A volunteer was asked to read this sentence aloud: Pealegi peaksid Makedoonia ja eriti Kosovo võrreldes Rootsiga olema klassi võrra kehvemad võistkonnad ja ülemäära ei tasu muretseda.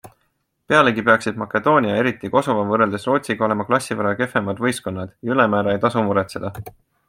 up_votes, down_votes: 2, 0